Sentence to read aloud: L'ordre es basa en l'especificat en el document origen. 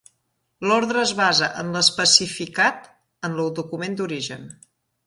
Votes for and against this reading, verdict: 0, 2, rejected